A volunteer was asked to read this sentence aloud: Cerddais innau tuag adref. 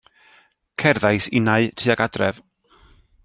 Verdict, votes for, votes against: accepted, 2, 0